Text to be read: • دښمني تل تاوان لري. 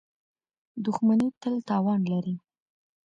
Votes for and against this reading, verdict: 2, 0, accepted